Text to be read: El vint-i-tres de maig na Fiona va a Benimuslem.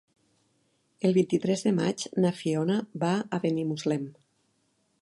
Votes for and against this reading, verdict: 6, 0, accepted